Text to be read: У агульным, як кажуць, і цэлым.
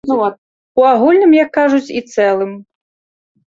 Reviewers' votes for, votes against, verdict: 1, 2, rejected